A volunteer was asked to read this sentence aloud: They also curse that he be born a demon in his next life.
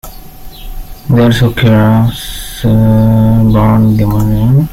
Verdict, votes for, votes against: rejected, 0, 2